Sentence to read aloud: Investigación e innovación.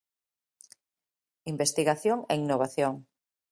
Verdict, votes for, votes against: accepted, 2, 0